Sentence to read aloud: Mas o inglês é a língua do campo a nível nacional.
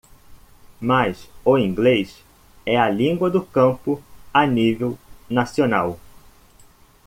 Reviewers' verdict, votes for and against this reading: accepted, 2, 0